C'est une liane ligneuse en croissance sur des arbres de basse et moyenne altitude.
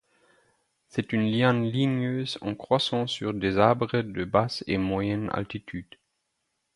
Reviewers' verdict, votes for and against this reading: accepted, 4, 0